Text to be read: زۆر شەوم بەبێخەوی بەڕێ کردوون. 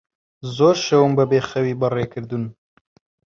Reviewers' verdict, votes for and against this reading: rejected, 0, 2